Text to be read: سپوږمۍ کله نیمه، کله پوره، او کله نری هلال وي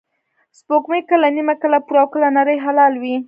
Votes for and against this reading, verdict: 1, 2, rejected